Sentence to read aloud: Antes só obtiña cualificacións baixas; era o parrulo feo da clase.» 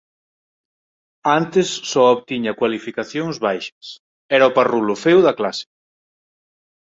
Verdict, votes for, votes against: accepted, 4, 0